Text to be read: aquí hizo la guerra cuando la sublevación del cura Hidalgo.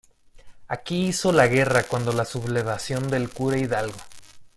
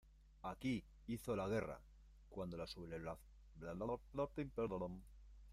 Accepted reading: first